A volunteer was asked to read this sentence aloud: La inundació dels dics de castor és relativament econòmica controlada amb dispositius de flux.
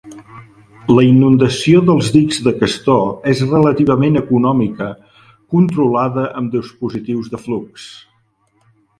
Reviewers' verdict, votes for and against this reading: rejected, 1, 2